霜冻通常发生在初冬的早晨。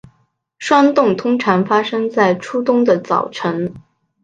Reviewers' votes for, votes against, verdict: 3, 0, accepted